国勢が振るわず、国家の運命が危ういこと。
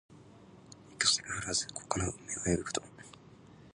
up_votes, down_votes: 0, 2